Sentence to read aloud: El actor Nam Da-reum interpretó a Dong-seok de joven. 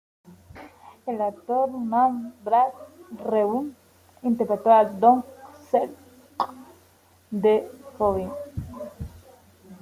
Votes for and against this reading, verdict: 0, 2, rejected